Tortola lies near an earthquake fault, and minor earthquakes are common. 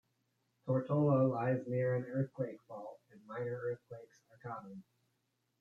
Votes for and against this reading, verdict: 1, 2, rejected